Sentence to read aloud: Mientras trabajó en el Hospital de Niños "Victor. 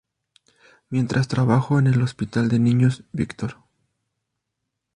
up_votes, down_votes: 4, 0